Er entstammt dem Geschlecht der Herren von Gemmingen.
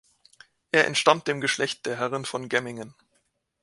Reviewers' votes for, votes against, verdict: 2, 0, accepted